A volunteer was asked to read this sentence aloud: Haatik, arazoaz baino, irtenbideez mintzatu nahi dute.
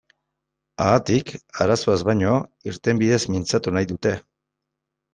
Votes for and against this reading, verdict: 2, 0, accepted